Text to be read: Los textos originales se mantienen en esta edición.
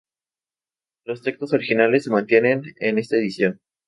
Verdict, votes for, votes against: accepted, 2, 0